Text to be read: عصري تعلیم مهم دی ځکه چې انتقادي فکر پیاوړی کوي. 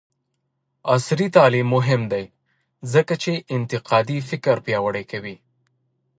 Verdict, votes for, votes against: accepted, 2, 1